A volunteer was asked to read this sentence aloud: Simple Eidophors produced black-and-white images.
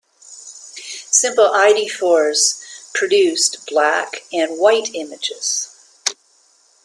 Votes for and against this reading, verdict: 1, 2, rejected